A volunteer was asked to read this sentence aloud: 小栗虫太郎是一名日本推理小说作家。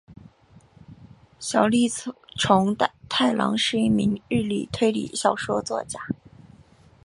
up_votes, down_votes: 1, 2